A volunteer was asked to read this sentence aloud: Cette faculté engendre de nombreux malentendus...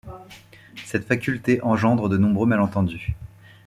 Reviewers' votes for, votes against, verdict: 2, 0, accepted